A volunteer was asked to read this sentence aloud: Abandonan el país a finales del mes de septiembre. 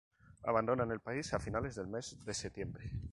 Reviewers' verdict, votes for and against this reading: accepted, 2, 0